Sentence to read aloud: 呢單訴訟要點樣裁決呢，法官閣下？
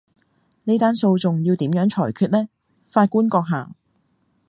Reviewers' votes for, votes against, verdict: 2, 0, accepted